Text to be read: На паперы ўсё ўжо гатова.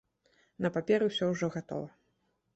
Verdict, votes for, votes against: accepted, 2, 0